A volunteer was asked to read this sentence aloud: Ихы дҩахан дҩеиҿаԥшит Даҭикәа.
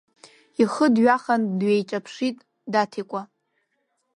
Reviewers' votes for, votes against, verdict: 2, 0, accepted